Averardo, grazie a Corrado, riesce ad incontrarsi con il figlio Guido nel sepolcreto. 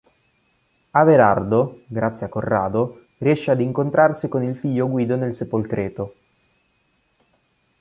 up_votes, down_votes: 2, 0